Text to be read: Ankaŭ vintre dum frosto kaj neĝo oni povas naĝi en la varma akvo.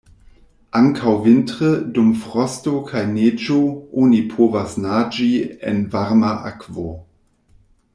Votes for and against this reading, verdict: 0, 2, rejected